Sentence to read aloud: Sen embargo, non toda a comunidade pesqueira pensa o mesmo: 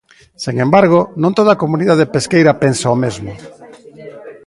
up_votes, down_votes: 1, 2